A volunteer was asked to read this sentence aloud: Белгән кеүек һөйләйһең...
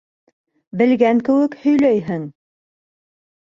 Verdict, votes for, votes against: accepted, 2, 0